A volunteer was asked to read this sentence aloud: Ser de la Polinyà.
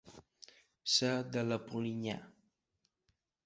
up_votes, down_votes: 2, 1